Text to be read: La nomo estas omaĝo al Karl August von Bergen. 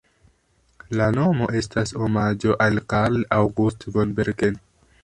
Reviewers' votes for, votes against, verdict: 1, 2, rejected